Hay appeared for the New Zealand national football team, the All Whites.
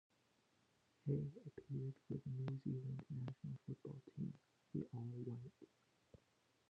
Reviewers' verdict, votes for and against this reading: rejected, 0, 2